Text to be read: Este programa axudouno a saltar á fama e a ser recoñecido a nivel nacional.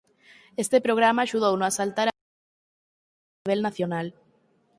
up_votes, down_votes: 0, 4